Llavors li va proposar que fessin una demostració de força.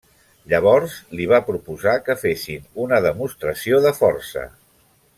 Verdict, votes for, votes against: accepted, 3, 0